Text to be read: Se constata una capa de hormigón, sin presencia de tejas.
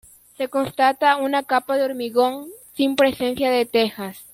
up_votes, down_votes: 1, 2